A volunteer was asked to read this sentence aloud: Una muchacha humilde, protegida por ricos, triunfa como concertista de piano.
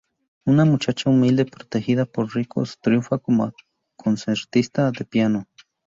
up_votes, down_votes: 2, 0